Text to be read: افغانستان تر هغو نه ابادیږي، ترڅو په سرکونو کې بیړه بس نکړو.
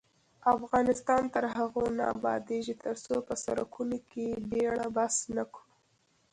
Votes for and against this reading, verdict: 1, 2, rejected